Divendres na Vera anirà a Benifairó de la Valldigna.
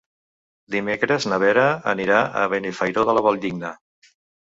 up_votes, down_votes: 2, 1